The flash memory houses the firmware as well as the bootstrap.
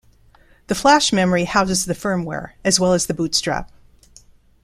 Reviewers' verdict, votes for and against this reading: accepted, 2, 0